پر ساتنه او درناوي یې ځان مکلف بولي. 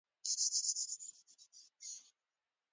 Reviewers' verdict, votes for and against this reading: rejected, 1, 2